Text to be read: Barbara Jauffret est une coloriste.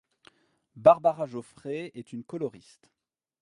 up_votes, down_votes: 0, 2